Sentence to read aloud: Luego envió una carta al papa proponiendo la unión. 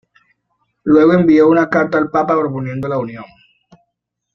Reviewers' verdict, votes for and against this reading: accepted, 2, 0